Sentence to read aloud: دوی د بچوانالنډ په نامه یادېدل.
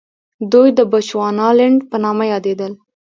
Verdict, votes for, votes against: rejected, 0, 2